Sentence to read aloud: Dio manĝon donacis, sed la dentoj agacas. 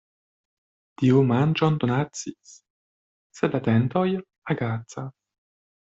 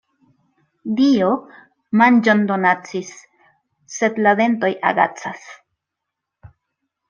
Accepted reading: second